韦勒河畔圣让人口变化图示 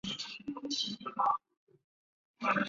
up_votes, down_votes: 4, 5